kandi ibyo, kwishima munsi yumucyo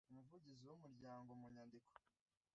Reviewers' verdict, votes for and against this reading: rejected, 0, 2